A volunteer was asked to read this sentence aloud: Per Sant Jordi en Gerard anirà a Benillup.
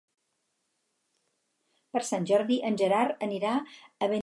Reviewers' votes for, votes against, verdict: 0, 4, rejected